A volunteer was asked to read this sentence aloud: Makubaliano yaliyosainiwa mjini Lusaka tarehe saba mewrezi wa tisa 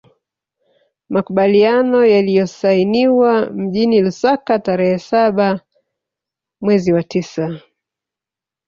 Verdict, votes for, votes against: rejected, 1, 2